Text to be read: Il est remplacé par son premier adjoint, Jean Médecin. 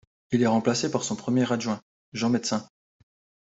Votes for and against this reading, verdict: 2, 0, accepted